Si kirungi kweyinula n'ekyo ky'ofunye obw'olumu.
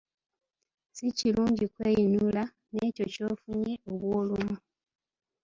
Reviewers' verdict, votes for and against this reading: accepted, 2, 0